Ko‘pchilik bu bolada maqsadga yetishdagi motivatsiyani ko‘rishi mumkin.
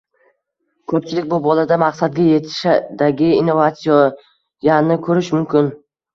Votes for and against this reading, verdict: 1, 2, rejected